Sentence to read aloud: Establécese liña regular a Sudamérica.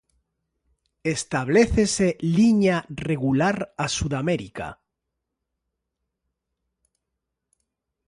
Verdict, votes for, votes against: accepted, 2, 0